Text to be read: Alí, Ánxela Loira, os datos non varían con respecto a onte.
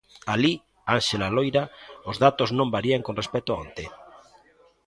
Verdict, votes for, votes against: accepted, 2, 0